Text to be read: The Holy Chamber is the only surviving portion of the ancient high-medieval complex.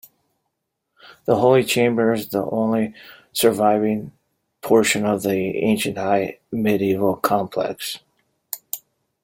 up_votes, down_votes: 2, 0